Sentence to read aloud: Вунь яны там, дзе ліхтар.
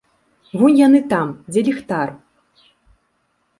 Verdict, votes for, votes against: accepted, 2, 0